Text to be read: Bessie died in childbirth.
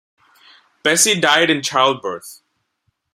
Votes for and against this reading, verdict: 2, 0, accepted